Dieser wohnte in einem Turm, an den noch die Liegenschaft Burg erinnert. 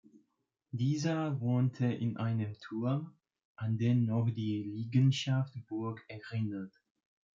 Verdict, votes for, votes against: accepted, 2, 0